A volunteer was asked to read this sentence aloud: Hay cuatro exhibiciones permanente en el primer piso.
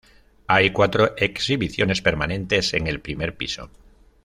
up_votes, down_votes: 1, 2